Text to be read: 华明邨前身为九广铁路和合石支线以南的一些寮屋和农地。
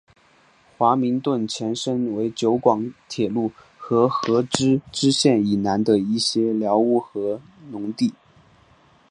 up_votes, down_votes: 5, 2